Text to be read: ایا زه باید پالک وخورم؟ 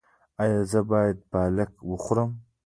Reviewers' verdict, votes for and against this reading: accepted, 2, 0